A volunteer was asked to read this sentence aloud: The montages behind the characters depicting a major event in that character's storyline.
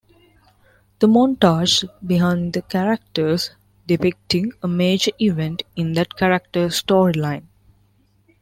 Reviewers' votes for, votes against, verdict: 1, 2, rejected